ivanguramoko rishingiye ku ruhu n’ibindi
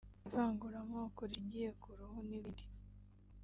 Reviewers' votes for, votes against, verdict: 0, 2, rejected